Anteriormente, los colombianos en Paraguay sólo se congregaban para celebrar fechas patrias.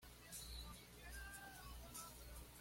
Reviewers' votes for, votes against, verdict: 1, 2, rejected